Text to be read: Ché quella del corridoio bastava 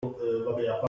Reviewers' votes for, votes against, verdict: 0, 2, rejected